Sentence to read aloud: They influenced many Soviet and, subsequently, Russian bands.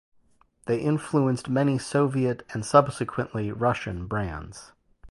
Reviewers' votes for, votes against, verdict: 0, 2, rejected